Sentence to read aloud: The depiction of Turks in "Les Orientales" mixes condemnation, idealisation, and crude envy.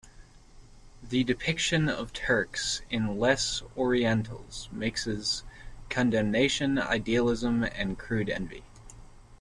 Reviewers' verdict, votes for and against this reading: rejected, 0, 2